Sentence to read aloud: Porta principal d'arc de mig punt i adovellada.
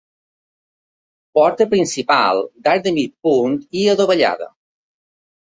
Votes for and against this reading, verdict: 2, 0, accepted